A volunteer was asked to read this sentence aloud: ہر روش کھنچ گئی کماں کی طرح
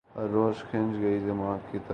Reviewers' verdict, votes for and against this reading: rejected, 0, 2